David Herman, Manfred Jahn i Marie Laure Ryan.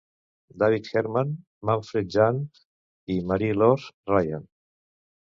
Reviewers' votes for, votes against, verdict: 0, 2, rejected